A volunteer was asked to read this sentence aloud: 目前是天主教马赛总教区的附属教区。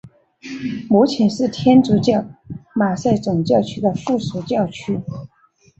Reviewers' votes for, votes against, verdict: 2, 0, accepted